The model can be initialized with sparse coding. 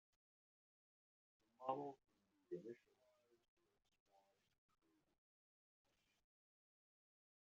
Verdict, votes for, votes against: rejected, 0, 2